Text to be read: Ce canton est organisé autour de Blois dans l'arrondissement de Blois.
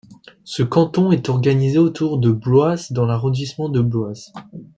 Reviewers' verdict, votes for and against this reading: rejected, 0, 2